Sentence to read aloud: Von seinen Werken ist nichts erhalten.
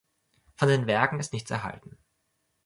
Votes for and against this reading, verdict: 0, 2, rejected